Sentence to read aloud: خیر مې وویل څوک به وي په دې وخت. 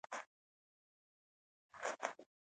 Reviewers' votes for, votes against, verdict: 0, 2, rejected